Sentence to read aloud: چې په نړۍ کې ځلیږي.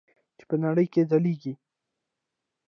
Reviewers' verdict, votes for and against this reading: rejected, 0, 2